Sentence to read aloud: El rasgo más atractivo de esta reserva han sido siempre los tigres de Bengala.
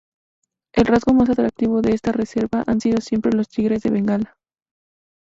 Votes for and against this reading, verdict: 2, 2, rejected